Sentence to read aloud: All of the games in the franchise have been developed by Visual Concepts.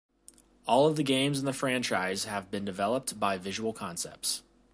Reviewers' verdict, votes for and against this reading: accepted, 2, 0